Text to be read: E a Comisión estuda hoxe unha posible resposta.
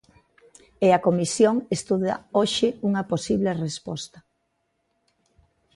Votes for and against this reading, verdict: 2, 0, accepted